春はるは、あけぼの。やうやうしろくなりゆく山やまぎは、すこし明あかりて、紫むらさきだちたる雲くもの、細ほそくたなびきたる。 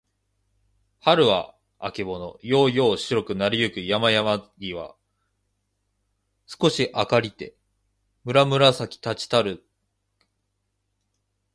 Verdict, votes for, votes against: rejected, 1, 2